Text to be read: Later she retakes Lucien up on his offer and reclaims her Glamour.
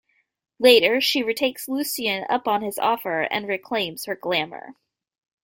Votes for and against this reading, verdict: 2, 0, accepted